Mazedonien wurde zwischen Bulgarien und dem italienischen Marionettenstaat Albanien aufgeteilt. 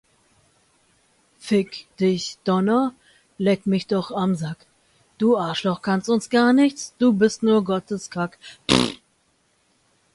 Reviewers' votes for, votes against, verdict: 1, 2, rejected